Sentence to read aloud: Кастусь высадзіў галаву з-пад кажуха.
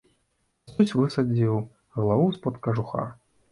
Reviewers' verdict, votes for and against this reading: rejected, 1, 2